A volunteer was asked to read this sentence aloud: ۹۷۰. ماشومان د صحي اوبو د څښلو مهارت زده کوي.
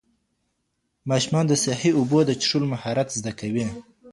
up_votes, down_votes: 0, 2